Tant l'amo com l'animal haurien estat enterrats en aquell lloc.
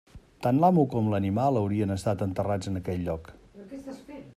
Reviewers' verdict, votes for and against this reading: rejected, 1, 2